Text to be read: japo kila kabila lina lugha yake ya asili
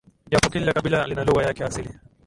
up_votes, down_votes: 2, 1